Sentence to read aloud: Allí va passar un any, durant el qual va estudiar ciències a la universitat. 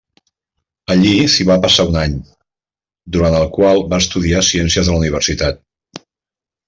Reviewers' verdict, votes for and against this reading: rejected, 0, 4